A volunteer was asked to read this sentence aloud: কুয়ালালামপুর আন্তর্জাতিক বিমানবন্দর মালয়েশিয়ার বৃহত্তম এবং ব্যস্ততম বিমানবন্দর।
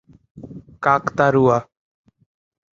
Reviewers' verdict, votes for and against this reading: rejected, 1, 15